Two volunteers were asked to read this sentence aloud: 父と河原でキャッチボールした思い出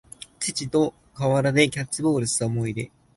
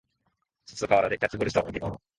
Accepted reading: first